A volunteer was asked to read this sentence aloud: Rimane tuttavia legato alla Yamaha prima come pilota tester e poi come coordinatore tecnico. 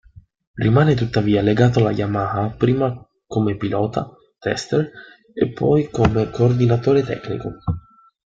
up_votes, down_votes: 2, 0